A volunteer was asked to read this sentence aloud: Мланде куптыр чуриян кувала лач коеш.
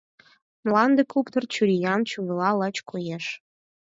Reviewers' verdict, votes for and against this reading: rejected, 2, 4